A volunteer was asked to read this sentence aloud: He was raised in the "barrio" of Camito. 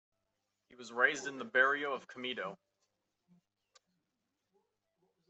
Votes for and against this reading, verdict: 2, 0, accepted